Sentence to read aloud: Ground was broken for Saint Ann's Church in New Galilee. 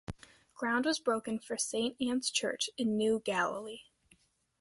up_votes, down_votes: 2, 0